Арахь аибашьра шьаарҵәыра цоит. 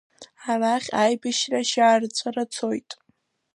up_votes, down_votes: 2, 0